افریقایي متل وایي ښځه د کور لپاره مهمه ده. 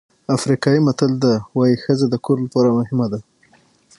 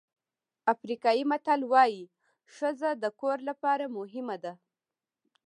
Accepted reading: second